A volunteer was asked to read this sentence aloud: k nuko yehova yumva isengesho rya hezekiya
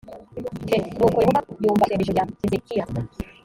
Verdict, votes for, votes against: rejected, 1, 2